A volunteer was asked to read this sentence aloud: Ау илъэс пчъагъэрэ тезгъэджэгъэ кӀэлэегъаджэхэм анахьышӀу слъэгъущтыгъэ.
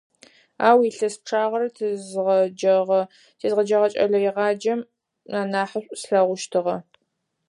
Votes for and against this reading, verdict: 0, 4, rejected